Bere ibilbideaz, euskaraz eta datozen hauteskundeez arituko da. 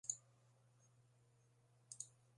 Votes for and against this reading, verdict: 0, 2, rejected